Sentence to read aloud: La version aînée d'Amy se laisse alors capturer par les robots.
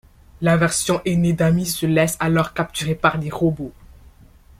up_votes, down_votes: 2, 1